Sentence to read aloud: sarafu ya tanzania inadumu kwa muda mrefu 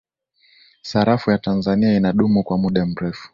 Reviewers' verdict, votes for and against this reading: accepted, 2, 1